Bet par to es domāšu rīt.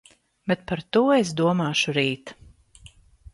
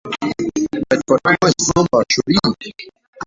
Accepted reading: first